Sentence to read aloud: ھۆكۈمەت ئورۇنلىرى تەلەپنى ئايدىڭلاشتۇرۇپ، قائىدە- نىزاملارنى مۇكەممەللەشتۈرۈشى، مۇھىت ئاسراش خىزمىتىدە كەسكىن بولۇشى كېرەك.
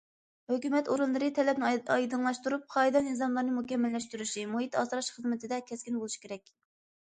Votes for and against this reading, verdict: 0, 2, rejected